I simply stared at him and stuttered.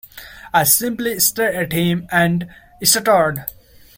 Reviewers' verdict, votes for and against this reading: rejected, 1, 2